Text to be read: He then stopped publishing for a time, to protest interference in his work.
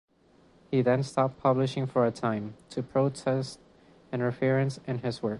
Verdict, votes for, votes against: accepted, 2, 0